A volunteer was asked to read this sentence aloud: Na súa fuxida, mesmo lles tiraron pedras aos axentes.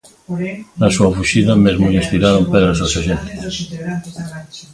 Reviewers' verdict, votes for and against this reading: rejected, 0, 2